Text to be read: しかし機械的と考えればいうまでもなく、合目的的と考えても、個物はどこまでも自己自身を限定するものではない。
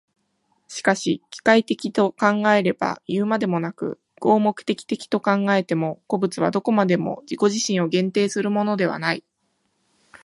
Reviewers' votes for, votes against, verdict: 2, 0, accepted